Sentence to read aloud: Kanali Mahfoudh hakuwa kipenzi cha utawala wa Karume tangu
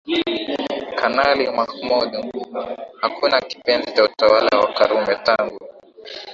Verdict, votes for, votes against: accepted, 4, 2